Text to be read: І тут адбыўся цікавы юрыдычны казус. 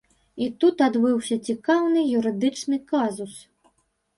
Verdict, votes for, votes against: rejected, 1, 2